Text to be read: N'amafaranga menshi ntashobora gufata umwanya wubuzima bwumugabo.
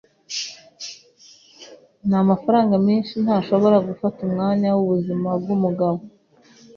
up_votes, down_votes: 2, 0